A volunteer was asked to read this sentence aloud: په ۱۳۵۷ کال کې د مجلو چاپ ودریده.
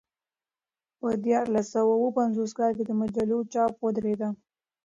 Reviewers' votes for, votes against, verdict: 0, 2, rejected